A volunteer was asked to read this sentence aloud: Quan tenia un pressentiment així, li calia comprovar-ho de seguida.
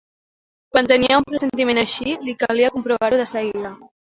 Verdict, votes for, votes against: accepted, 2, 0